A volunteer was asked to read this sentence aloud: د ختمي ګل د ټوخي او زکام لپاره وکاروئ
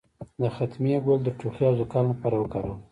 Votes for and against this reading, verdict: 1, 2, rejected